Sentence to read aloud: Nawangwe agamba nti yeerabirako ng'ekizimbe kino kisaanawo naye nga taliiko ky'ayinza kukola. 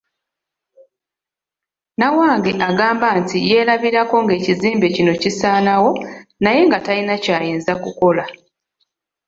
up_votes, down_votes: 1, 2